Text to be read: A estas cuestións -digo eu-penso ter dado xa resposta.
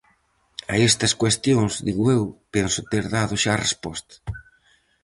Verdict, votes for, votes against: accepted, 4, 0